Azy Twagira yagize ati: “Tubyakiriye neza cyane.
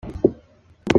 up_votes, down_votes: 0, 2